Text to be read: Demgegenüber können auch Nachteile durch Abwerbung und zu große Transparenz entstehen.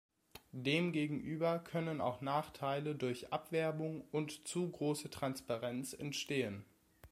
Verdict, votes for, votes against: accepted, 2, 0